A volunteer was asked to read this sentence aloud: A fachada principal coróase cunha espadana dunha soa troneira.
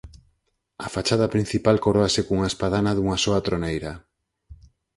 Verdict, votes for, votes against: accepted, 4, 0